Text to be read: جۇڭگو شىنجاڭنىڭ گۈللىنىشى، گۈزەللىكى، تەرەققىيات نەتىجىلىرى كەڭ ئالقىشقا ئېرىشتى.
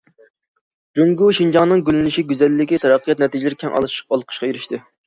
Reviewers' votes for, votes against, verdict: 0, 2, rejected